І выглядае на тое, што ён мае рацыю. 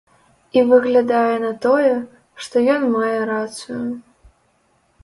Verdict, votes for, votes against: accepted, 2, 0